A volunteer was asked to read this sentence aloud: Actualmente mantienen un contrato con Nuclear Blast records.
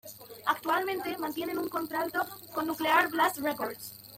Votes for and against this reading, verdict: 2, 1, accepted